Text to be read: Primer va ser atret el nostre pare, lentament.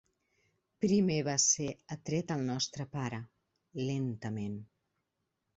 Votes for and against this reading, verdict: 2, 0, accepted